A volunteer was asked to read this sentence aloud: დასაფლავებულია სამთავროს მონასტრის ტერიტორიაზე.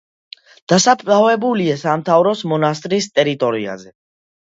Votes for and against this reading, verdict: 2, 0, accepted